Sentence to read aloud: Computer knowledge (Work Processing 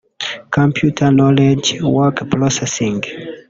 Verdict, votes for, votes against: rejected, 0, 2